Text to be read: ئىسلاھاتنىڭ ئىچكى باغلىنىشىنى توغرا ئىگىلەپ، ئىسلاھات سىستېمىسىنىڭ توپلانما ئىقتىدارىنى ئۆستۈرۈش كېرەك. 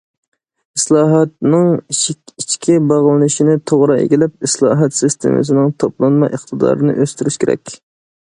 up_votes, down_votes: 2, 1